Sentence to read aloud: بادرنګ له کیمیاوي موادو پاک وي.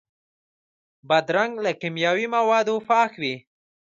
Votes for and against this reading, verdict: 0, 2, rejected